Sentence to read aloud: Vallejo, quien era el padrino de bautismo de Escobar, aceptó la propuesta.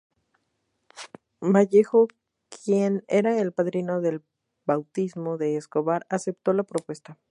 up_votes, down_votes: 0, 2